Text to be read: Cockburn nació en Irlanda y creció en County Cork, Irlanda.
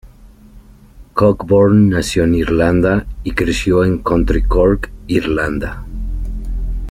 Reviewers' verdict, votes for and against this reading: rejected, 0, 2